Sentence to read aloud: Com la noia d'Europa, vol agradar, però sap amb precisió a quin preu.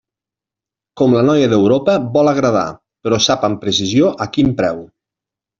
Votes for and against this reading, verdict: 5, 0, accepted